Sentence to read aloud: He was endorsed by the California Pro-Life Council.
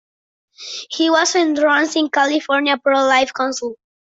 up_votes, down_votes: 0, 2